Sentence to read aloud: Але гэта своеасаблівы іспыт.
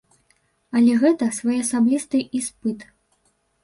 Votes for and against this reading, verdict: 1, 2, rejected